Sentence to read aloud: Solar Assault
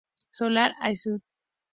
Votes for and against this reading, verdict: 0, 2, rejected